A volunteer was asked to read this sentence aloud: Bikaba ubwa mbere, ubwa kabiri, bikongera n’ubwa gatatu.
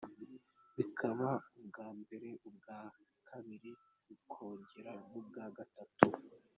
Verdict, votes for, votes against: accepted, 2, 0